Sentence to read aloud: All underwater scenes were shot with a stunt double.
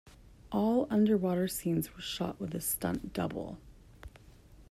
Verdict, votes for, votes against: accepted, 2, 0